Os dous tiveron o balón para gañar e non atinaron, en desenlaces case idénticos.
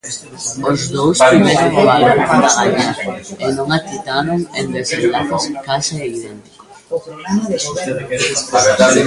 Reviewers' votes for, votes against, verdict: 0, 2, rejected